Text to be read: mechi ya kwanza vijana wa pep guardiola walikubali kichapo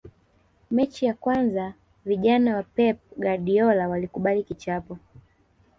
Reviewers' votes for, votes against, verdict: 1, 2, rejected